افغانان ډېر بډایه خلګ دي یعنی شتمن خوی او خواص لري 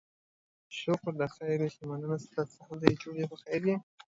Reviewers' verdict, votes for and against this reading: rejected, 0, 2